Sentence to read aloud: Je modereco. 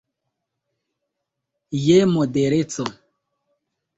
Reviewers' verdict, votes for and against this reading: accepted, 3, 0